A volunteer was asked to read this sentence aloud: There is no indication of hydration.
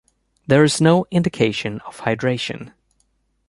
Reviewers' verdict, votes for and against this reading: accepted, 2, 0